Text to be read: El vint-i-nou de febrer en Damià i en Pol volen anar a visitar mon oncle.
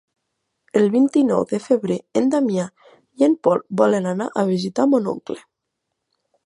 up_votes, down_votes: 4, 0